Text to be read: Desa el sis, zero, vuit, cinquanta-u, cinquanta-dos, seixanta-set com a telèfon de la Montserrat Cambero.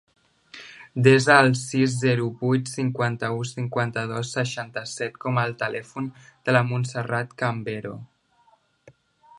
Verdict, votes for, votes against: rejected, 1, 2